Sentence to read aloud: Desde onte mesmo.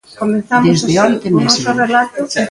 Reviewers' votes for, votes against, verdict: 0, 2, rejected